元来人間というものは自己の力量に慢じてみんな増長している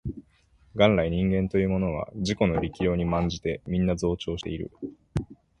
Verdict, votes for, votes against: accepted, 2, 0